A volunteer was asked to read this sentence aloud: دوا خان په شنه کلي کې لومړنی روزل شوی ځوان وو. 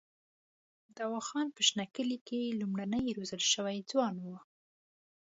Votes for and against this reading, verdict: 2, 0, accepted